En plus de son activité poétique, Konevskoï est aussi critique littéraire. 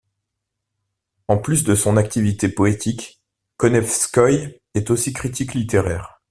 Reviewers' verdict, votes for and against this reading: accepted, 2, 0